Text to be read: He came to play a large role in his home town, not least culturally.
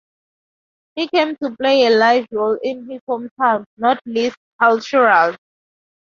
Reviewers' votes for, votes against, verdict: 4, 6, rejected